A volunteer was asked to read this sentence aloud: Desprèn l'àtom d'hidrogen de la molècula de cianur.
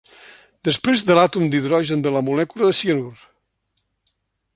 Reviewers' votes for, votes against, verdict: 0, 2, rejected